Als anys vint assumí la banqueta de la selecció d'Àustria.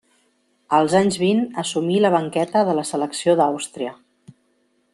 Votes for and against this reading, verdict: 2, 0, accepted